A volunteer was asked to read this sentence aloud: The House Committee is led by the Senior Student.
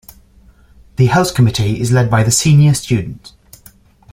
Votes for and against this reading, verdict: 2, 0, accepted